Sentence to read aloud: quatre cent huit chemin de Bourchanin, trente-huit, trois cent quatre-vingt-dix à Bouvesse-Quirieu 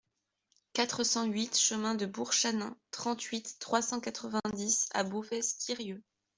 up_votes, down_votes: 2, 0